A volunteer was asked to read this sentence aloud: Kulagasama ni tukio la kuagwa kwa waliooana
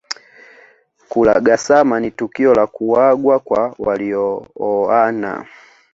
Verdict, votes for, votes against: accepted, 2, 1